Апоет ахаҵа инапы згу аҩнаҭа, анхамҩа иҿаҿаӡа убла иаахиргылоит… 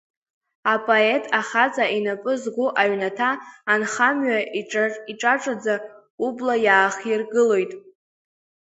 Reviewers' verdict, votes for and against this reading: rejected, 0, 2